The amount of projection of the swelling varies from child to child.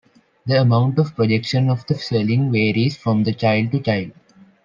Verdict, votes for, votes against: rejected, 1, 2